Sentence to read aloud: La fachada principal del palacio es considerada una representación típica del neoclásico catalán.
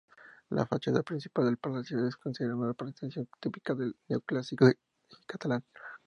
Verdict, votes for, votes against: accepted, 2, 0